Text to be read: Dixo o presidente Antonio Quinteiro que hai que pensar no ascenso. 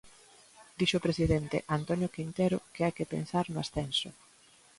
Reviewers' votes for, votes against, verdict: 0, 2, rejected